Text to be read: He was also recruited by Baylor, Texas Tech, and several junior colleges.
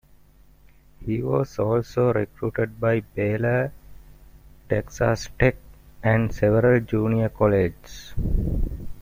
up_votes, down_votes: 0, 2